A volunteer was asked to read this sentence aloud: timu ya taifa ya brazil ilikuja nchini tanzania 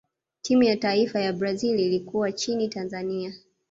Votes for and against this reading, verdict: 1, 2, rejected